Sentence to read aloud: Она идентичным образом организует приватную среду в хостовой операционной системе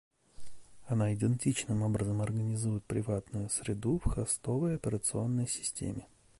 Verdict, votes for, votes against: accepted, 2, 0